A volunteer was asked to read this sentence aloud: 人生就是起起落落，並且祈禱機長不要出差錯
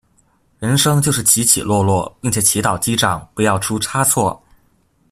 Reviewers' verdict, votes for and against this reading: accepted, 2, 0